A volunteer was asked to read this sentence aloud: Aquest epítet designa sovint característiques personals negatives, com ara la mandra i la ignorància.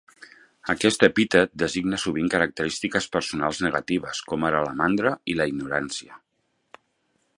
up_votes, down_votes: 3, 0